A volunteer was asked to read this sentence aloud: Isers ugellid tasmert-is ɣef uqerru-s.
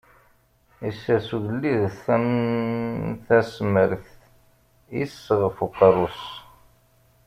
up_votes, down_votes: 0, 2